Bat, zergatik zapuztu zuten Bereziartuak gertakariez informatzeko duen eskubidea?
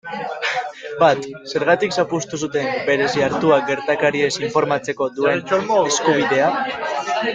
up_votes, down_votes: 0, 2